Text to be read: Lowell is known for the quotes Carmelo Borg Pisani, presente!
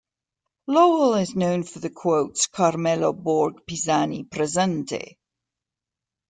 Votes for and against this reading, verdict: 2, 0, accepted